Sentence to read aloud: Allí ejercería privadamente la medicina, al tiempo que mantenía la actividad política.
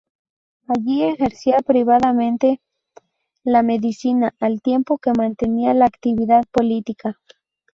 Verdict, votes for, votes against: rejected, 0, 2